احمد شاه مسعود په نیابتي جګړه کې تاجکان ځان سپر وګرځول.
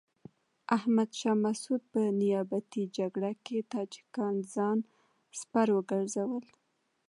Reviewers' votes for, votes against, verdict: 2, 0, accepted